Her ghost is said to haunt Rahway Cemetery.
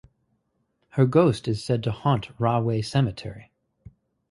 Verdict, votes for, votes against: accepted, 4, 0